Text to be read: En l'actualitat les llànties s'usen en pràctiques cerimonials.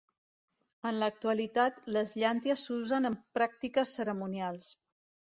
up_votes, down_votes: 1, 2